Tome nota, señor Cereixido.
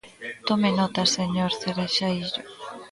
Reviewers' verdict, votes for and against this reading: rejected, 0, 2